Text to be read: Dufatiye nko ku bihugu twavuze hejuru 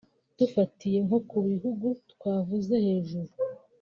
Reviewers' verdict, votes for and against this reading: accepted, 2, 1